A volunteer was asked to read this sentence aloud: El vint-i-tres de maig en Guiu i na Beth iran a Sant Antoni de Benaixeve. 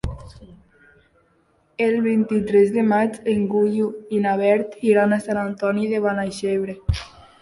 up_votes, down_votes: 0, 2